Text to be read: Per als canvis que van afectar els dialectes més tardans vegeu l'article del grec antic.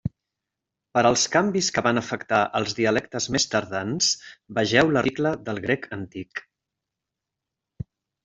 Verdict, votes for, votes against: rejected, 1, 2